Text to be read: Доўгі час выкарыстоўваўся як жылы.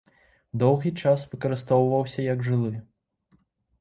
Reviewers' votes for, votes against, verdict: 2, 0, accepted